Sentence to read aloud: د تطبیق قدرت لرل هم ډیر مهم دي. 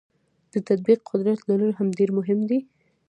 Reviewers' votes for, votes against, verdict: 0, 2, rejected